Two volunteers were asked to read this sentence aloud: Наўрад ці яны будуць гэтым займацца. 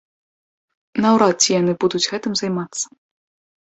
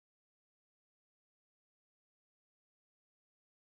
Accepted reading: first